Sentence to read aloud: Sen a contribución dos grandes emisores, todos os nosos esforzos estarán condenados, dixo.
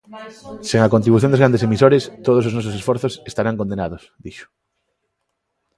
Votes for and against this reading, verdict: 1, 2, rejected